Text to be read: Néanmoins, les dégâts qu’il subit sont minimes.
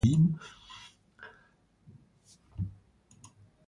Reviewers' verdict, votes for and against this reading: rejected, 0, 2